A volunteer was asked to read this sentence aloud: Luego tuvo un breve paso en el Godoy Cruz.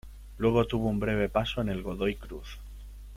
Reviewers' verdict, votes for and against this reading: accepted, 3, 0